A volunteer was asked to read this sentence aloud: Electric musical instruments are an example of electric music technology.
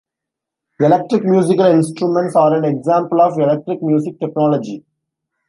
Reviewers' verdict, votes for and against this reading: accepted, 2, 0